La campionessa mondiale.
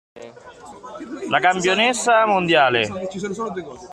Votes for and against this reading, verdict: 2, 0, accepted